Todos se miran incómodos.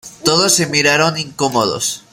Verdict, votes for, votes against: rejected, 0, 2